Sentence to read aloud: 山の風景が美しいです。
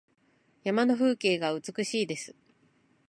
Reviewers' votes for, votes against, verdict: 0, 2, rejected